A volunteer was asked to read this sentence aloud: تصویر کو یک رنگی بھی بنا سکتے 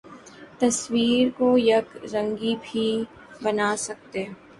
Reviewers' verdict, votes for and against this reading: accepted, 3, 0